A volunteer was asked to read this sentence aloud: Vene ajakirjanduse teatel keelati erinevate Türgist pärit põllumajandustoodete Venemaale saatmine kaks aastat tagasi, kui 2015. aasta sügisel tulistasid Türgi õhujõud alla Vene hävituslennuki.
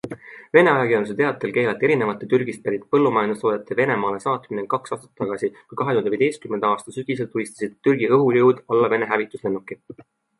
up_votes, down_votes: 0, 2